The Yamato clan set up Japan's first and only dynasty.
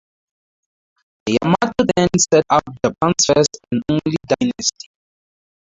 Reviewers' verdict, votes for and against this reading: rejected, 0, 4